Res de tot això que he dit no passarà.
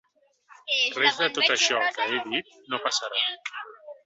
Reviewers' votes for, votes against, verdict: 1, 2, rejected